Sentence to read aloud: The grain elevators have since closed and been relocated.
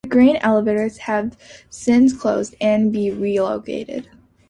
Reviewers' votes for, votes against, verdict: 2, 0, accepted